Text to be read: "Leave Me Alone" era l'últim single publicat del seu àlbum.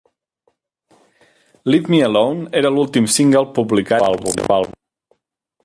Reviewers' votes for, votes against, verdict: 1, 2, rejected